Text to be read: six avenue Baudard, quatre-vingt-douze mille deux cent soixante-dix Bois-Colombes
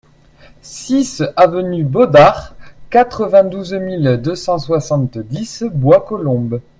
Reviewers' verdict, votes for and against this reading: accepted, 2, 0